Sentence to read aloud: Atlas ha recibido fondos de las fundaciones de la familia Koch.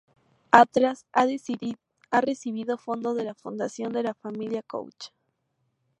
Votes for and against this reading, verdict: 0, 2, rejected